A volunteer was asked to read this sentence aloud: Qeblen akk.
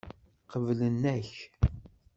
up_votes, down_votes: 1, 2